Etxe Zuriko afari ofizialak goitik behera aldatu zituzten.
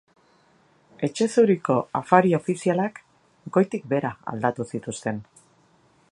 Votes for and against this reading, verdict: 2, 0, accepted